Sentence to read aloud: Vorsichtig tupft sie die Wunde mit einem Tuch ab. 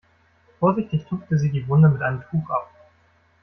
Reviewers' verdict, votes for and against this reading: rejected, 0, 2